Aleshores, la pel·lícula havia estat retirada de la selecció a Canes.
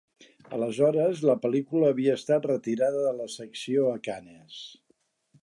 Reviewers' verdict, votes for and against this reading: rejected, 0, 2